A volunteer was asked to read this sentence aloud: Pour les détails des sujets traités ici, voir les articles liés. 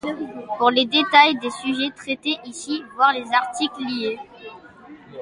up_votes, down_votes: 2, 0